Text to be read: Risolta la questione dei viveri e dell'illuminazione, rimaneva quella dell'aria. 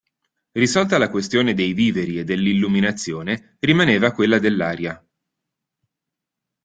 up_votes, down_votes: 2, 0